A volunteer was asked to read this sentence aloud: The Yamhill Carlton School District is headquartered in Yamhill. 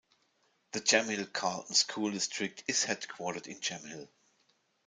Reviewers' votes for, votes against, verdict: 1, 2, rejected